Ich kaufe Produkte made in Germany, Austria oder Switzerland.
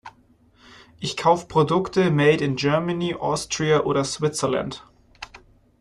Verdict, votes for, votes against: rejected, 0, 2